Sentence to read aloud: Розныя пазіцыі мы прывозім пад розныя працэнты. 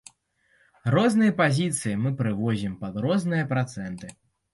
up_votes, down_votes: 1, 2